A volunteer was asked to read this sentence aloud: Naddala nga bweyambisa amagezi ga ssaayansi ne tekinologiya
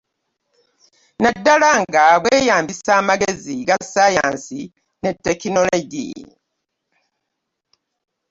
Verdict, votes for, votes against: accepted, 2, 0